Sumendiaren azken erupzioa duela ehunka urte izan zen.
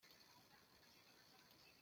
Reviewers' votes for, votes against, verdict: 0, 2, rejected